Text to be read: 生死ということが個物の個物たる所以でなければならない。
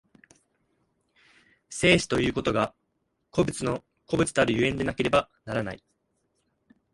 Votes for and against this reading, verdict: 2, 0, accepted